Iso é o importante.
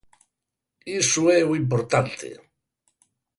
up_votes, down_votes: 4, 0